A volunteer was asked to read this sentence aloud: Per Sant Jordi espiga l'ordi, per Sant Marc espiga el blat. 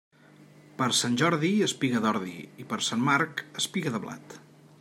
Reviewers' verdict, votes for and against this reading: rejected, 1, 2